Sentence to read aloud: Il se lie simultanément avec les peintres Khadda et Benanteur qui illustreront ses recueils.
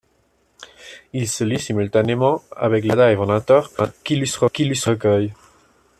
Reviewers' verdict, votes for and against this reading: rejected, 0, 2